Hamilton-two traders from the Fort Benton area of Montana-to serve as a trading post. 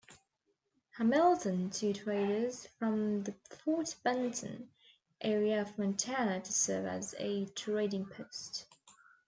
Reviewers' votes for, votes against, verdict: 2, 0, accepted